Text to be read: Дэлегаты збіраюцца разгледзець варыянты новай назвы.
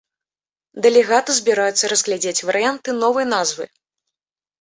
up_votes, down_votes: 1, 2